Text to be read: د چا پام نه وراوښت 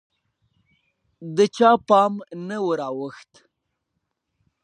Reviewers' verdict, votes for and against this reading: accepted, 3, 1